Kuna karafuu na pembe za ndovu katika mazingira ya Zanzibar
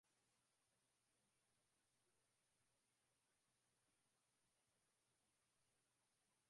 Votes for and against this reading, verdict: 0, 2, rejected